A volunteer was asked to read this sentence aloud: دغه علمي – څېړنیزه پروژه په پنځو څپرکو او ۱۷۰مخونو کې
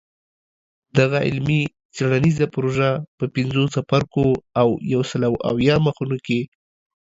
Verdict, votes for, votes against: rejected, 0, 2